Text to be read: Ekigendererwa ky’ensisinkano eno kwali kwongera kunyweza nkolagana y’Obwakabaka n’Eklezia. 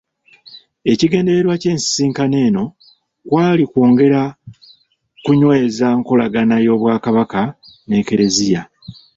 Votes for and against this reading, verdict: 2, 0, accepted